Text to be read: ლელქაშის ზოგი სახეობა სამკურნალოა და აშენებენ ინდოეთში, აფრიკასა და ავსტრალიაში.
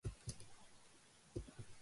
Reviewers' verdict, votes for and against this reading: rejected, 1, 2